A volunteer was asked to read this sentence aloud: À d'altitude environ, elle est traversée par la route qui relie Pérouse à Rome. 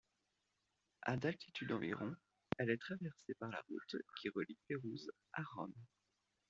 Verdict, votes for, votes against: accepted, 2, 0